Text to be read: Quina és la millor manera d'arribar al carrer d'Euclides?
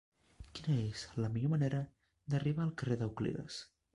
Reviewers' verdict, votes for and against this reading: rejected, 1, 2